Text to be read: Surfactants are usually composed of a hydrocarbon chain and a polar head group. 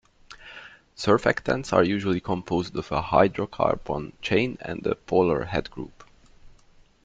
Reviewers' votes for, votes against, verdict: 2, 3, rejected